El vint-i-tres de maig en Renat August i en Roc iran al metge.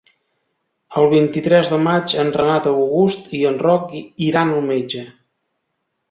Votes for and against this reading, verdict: 1, 2, rejected